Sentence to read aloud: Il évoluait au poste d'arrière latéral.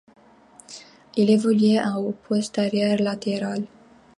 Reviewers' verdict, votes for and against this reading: rejected, 0, 2